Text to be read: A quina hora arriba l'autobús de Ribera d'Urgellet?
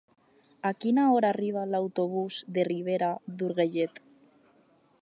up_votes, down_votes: 0, 4